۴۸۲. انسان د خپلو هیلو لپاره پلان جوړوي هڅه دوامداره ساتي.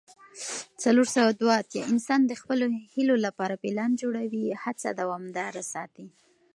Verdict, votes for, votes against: rejected, 0, 2